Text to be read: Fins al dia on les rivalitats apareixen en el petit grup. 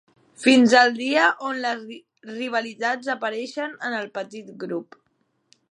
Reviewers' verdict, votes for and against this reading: rejected, 0, 2